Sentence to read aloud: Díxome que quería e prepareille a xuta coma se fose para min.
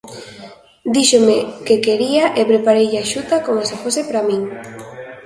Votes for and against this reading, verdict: 0, 2, rejected